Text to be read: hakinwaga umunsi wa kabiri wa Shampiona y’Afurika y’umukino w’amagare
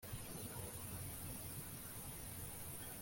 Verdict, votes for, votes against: rejected, 1, 2